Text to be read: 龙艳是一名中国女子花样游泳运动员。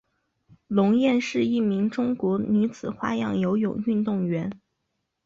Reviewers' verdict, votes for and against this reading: rejected, 0, 2